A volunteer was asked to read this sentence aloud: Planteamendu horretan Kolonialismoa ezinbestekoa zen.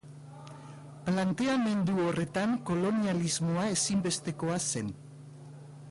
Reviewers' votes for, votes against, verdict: 2, 1, accepted